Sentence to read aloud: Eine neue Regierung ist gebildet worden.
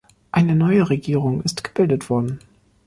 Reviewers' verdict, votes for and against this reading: rejected, 1, 2